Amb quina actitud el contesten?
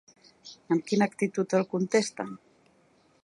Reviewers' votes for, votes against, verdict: 2, 0, accepted